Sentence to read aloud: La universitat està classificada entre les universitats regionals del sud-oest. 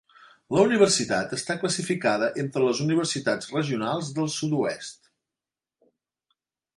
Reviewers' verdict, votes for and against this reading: accepted, 3, 0